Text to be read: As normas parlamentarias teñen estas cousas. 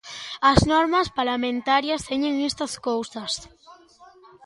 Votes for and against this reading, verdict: 0, 2, rejected